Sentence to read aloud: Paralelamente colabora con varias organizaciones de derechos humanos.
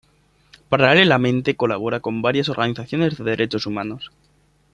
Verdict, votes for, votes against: accepted, 2, 0